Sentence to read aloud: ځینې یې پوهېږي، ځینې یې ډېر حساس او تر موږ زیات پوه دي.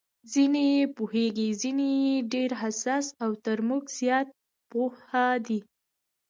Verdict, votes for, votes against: rejected, 1, 2